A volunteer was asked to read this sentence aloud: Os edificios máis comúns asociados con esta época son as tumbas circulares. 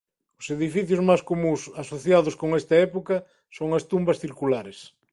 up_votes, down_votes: 2, 0